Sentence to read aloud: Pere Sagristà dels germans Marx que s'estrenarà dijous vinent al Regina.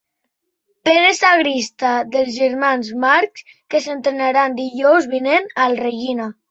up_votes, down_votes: 1, 3